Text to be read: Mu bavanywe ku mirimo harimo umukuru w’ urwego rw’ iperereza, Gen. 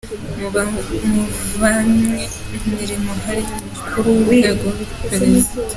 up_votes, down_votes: 0, 2